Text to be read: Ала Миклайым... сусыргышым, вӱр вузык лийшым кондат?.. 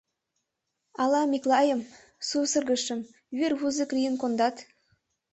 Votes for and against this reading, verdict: 0, 2, rejected